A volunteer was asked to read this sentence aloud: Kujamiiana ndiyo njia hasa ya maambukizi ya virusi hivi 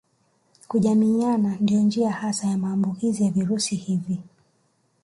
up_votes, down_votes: 2, 0